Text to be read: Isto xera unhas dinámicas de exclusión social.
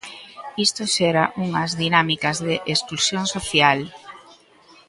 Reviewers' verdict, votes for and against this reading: rejected, 0, 2